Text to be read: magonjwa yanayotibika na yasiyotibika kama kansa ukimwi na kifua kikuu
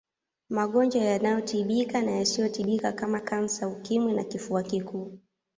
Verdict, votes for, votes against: accepted, 2, 0